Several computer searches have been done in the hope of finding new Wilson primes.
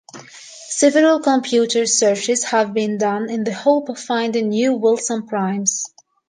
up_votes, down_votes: 2, 0